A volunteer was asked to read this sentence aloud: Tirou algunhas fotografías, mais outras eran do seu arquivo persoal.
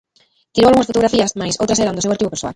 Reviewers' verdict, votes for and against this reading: rejected, 0, 3